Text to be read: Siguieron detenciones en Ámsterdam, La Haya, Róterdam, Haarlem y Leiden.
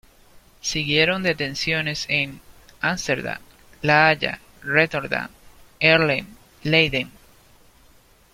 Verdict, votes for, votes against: rejected, 1, 2